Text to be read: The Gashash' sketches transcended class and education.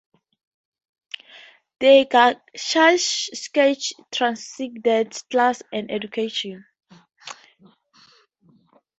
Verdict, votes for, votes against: rejected, 0, 2